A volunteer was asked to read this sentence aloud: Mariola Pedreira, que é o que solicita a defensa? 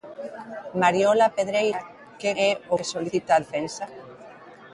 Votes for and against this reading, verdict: 0, 3, rejected